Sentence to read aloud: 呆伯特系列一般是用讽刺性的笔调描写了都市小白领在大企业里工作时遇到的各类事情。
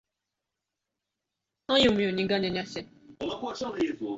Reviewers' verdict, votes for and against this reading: rejected, 0, 2